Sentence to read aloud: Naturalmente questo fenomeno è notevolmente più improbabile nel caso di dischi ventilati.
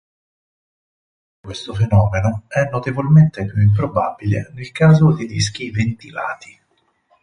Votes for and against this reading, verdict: 0, 4, rejected